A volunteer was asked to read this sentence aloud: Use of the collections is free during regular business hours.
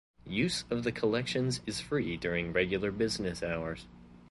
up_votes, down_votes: 2, 0